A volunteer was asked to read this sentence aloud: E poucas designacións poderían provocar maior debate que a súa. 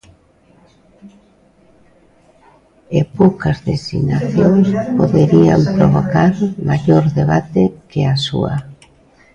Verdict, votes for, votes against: accepted, 2, 0